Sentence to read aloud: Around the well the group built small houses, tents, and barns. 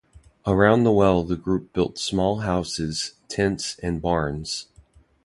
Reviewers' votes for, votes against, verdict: 2, 0, accepted